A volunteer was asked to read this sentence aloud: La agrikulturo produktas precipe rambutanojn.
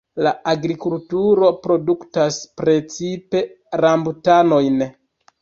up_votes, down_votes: 0, 2